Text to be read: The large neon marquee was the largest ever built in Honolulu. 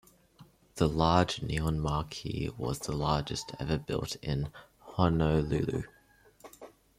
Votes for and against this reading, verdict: 2, 1, accepted